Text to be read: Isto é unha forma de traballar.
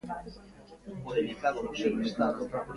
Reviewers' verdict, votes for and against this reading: rejected, 0, 2